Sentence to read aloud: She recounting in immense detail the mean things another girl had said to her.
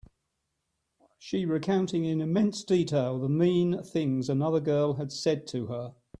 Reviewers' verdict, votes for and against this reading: accepted, 2, 0